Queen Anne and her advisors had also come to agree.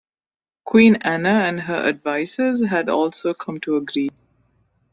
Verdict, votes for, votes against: rejected, 1, 2